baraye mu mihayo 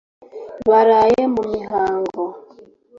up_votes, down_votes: 0, 2